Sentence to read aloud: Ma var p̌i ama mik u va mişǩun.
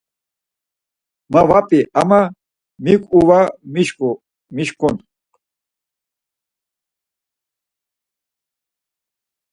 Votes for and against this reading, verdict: 0, 4, rejected